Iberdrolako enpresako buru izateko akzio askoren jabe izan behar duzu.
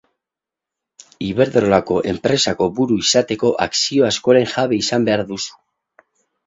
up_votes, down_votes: 4, 0